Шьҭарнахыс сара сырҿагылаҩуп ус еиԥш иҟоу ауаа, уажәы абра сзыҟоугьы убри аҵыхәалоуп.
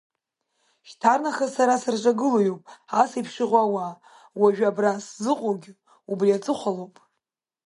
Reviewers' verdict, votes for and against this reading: rejected, 1, 2